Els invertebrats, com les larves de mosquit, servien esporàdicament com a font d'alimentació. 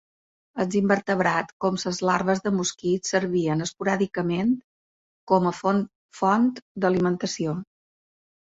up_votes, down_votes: 2, 1